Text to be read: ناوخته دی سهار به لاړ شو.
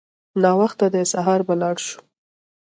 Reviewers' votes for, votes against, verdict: 1, 2, rejected